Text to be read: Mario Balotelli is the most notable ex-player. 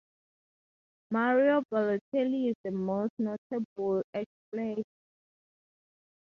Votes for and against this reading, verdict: 2, 0, accepted